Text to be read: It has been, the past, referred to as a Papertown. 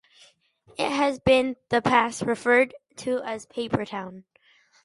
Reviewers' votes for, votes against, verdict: 2, 0, accepted